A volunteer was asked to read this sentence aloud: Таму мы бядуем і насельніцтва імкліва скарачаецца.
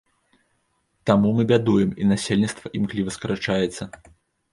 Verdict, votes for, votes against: accepted, 2, 0